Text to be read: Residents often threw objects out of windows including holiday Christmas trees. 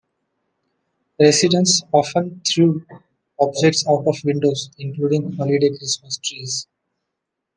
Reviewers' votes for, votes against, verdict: 2, 0, accepted